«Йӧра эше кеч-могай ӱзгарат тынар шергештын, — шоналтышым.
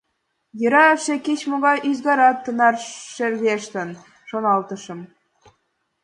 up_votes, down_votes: 2, 0